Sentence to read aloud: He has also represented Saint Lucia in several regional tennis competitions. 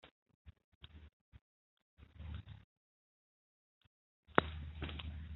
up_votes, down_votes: 0, 2